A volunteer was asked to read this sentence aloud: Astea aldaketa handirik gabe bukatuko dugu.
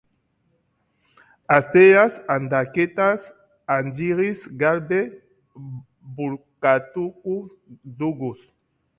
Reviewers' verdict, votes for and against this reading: rejected, 0, 2